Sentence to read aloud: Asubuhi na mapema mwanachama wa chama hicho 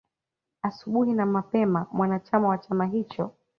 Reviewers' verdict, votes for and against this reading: rejected, 1, 2